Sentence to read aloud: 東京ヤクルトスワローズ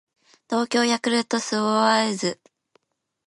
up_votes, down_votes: 1, 2